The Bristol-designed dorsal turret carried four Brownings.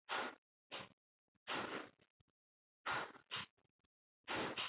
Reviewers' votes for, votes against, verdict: 0, 2, rejected